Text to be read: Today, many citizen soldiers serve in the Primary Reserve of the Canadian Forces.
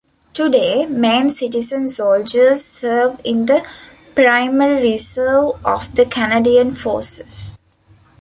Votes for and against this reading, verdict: 0, 2, rejected